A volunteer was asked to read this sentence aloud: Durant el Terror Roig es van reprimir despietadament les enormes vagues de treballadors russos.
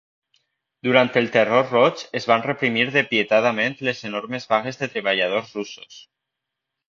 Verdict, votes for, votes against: rejected, 1, 2